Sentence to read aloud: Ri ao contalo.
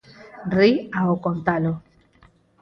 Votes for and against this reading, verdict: 6, 0, accepted